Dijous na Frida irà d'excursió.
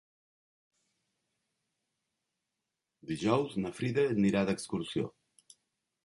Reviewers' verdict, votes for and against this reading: rejected, 0, 2